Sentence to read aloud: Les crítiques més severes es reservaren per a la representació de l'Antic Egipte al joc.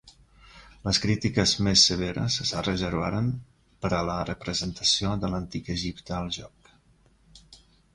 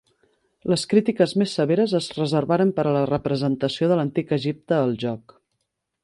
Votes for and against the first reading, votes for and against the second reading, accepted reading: 0, 2, 5, 0, second